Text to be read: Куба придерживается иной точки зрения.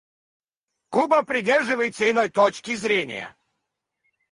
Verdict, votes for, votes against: rejected, 0, 4